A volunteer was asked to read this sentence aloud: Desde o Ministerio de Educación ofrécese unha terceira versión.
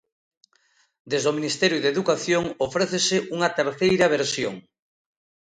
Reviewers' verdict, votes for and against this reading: accepted, 2, 0